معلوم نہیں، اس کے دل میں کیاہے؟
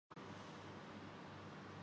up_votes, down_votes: 0, 2